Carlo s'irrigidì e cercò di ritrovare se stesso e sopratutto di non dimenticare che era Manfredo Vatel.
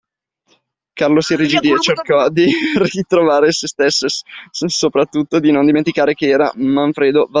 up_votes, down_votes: 0, 2